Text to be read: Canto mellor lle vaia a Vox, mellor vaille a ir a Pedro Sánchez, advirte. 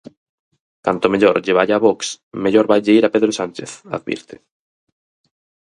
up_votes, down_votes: 2, 2